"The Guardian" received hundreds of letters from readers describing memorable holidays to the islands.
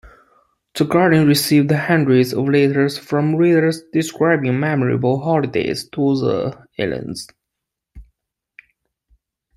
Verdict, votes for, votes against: accepted, 2, 0